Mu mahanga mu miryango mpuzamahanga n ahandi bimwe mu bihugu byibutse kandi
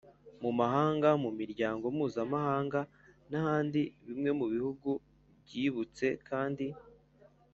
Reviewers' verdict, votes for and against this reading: accepted, 2, 0